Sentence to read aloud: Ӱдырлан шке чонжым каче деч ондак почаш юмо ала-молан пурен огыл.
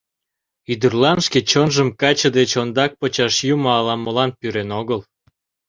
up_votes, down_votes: 0, 2